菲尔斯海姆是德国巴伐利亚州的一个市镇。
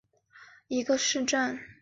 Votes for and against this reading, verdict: 0, 3, rejected